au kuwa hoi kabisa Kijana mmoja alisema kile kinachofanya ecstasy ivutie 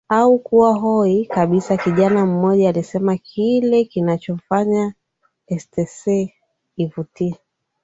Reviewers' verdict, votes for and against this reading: accepted, 12, 2